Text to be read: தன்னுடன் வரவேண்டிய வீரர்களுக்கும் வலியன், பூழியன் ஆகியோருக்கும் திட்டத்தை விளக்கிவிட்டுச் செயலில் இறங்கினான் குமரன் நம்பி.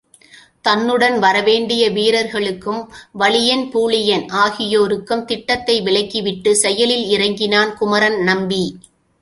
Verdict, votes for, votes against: accepted, 2, 0